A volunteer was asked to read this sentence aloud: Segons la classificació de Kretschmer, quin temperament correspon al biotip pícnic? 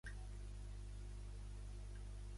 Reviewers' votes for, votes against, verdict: 0, 2, rejected